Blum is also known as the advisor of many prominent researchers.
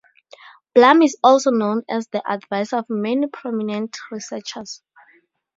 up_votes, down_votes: 4, 0